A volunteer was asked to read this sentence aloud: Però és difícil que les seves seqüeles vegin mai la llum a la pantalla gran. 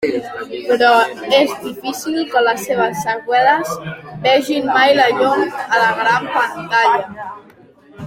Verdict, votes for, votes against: rejected, 0, 2